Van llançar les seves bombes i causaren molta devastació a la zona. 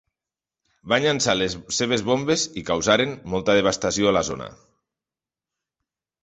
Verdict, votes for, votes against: rejected, 0, 2